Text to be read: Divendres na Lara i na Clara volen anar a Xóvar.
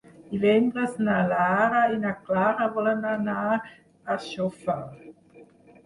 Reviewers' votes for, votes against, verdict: 0, 4, rejected